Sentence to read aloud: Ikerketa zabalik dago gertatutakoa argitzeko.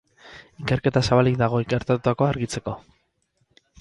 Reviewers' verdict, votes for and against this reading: rejected, 2, 2